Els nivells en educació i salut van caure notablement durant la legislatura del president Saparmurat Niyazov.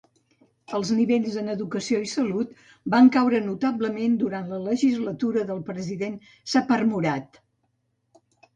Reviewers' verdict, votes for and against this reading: rejected, 1, 2